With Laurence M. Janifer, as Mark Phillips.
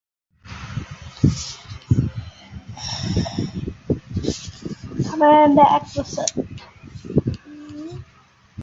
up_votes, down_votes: 0, 2